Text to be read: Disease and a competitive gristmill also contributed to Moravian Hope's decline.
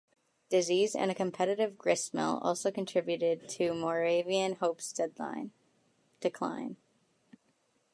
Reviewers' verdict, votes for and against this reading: rejected, 1, 2